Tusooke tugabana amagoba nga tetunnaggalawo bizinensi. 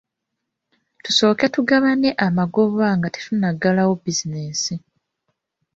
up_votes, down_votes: 1, 2